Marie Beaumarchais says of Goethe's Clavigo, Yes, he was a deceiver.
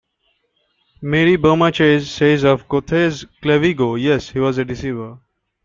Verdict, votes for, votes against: rejected, 0, 2